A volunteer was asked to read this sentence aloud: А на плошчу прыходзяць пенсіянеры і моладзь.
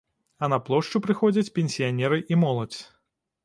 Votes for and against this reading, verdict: 2, 0, accepted